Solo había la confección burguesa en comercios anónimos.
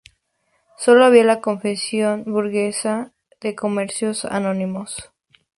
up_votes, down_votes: 2, 4